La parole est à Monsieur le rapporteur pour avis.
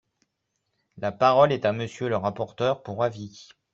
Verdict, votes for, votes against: accepted, 2, 0